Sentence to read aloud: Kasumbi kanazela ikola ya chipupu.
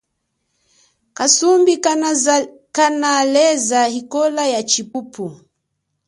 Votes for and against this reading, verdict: 1, 3, rejected